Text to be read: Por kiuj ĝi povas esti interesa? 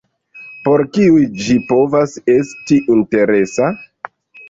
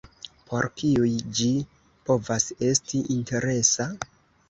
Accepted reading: second